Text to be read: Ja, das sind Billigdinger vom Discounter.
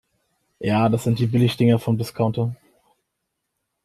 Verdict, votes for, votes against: rejected, 2, 3